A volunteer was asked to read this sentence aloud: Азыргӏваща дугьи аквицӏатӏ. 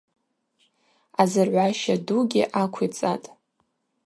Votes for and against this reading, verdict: 2, 0, accepted